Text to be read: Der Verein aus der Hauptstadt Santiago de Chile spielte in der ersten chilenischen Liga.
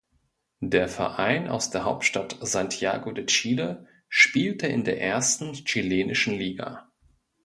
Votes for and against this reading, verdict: 2, 0, accepted